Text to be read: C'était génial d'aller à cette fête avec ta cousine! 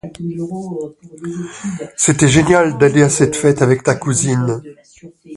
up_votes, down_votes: 0, 3